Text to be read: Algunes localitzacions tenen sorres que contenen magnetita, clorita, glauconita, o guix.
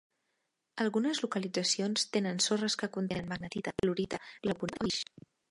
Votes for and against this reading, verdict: 1, 2, rejected